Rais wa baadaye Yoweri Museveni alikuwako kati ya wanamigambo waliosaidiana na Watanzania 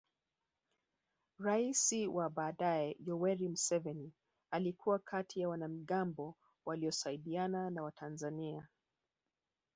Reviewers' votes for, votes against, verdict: 2, 3, rejected